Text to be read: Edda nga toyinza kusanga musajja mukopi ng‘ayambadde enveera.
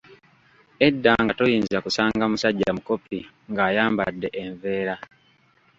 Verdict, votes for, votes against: rejected, 1, 2